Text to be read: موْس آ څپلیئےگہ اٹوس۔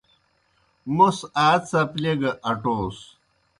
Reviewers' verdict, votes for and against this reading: accepted, 2, 0